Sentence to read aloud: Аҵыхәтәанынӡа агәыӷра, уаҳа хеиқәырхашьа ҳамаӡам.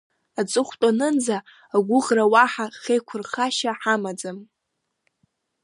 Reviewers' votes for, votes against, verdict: 2, 0, accepted